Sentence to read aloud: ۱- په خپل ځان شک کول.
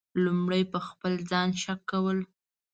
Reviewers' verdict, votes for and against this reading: rejected, 0, 2